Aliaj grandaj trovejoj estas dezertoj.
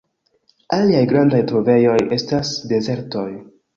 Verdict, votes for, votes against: rejected, 1, 2